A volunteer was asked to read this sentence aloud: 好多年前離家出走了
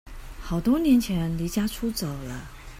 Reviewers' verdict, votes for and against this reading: accepted, 2, 0